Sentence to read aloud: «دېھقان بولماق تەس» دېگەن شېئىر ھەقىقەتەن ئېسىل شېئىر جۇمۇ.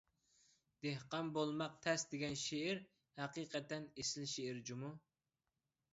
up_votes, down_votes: 2, 0